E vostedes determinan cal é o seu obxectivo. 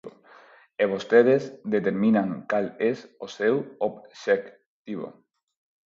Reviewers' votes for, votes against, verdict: 0, 4, rejected